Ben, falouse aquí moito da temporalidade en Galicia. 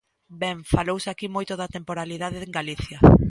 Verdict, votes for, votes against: accepted, 2, 1